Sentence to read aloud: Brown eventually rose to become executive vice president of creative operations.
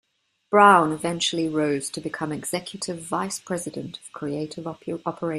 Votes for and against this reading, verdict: 0, 2, rejected